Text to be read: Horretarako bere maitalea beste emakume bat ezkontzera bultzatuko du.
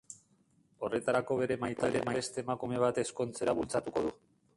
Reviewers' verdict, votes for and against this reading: rejected, 1, 2